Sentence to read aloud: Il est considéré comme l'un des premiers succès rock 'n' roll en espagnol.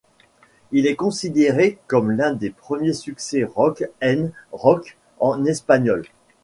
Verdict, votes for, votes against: rejected, 0, 2